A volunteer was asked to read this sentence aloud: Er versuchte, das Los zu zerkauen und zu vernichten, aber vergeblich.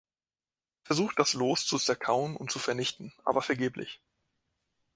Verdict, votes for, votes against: rejected, 0, 2